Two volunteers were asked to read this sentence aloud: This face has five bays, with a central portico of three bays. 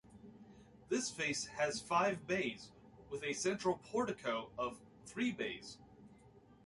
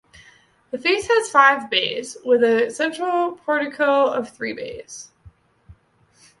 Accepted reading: first